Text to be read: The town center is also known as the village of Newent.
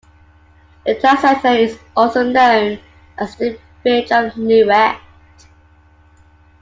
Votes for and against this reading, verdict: 2, 1, accepted